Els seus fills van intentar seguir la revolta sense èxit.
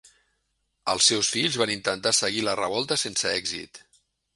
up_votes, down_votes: 3, 0